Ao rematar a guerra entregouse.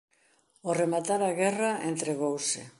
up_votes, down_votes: 2, 0